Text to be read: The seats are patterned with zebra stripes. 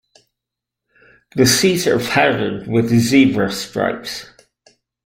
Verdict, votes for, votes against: accepted, 3, 1